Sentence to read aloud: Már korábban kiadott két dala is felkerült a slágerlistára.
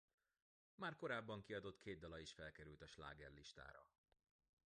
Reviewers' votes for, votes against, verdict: 2, 0, accepted